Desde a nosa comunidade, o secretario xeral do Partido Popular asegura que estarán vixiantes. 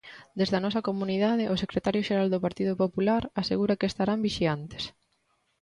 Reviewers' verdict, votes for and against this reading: accepted, 2, 0